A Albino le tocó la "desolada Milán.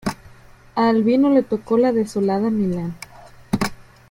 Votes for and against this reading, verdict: 1, 2, rejected